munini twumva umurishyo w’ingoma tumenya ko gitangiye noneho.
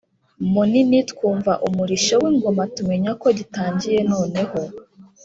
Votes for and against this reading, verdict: 2, 0, accepted